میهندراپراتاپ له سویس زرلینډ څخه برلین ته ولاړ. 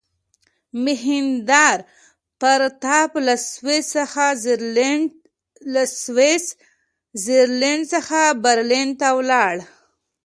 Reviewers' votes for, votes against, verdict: 0, 2, rejected